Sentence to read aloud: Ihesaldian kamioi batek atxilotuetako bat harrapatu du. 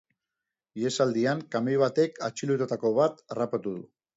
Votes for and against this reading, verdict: 1, 2, rejected